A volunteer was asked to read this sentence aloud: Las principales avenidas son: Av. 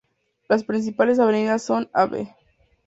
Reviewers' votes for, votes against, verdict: 0, 2, rejected